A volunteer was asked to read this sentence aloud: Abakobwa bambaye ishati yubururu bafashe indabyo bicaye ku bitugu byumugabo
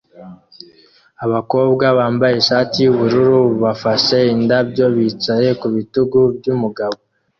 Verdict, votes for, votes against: accepted, 2, 0